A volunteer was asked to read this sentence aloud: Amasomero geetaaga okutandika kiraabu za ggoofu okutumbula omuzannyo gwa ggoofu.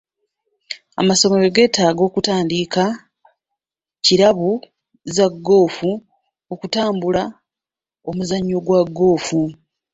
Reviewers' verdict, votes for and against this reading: rejected, 0, 2